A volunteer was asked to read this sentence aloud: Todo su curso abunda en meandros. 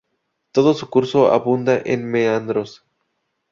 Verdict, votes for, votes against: accepted, 2, 0